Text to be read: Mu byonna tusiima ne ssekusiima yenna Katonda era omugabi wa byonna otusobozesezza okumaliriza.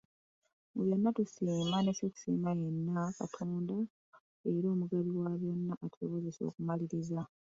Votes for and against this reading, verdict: 0, 2, rejected